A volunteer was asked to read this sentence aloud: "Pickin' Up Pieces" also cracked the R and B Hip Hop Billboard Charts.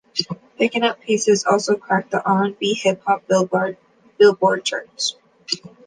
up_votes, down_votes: 1, 2